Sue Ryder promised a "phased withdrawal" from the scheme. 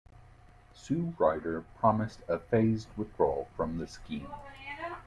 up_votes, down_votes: 0, 2